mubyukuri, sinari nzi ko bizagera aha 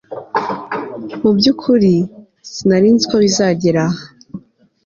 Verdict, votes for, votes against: accepted, 2, 0